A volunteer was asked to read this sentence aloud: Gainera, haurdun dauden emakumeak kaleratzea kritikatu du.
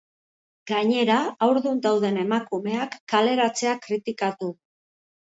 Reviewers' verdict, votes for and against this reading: rejected, 0, 3